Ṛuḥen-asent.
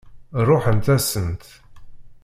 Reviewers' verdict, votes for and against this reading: rejected, 0, 2